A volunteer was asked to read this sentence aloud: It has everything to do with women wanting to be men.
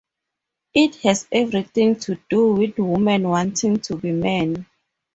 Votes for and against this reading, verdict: 4, 0, accepted